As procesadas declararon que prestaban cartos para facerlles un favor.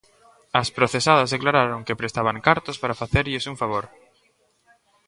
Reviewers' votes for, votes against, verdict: 2, 0, accepted